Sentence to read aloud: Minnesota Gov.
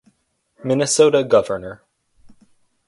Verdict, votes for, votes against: rejected, 0, 2